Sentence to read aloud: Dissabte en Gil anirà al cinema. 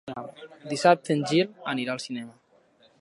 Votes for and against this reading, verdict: 2, 0, accepted